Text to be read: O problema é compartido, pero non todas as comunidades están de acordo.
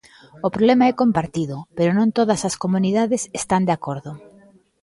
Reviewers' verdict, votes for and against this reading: rejected, 1, 2